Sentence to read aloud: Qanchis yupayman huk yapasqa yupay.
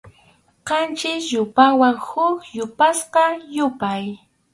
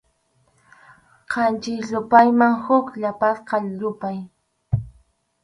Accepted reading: second